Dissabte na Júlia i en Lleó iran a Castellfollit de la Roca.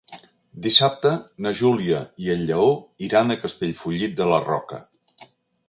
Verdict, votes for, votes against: accepted, 3, 0